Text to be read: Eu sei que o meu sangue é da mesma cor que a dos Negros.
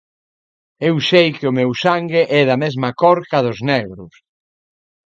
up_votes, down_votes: 2, 0